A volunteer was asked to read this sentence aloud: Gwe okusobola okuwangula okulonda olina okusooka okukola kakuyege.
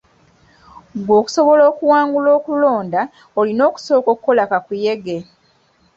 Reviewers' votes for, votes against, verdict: 3, 0, accepted